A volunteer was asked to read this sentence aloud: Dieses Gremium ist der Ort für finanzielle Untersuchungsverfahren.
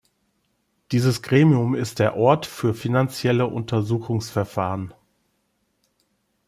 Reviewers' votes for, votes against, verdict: 2, 0, accepted